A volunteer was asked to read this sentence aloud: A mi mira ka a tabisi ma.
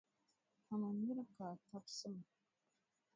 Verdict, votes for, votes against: rejected, 1, 2